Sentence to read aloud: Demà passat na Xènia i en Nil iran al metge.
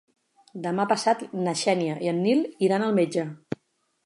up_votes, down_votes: 16, 0